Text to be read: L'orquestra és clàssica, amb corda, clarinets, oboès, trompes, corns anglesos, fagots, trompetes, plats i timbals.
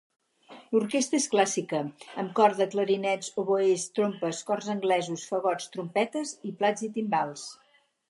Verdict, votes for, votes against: rejected, 2, 4